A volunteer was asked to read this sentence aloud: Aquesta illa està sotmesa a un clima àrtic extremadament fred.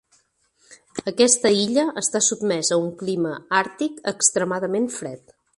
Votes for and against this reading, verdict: 3, 0, accepted